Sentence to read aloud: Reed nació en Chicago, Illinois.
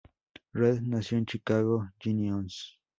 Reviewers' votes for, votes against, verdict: 2, 2, rejected